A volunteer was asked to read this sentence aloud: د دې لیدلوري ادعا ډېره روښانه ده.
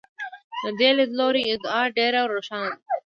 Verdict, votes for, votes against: accepted, 2, 1